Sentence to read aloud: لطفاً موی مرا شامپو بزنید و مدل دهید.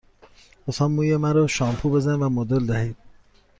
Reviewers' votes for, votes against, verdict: 2, 0, accepted